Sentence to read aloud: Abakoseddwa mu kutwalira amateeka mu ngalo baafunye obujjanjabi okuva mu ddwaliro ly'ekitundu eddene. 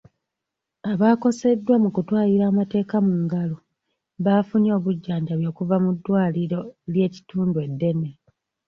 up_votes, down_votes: 2, 1